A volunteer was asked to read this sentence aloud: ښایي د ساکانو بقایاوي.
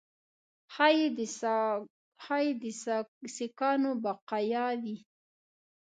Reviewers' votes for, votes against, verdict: 3, 4, rejected